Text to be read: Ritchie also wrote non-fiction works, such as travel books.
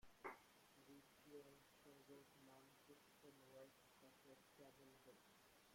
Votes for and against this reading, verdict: 0, 3, rejected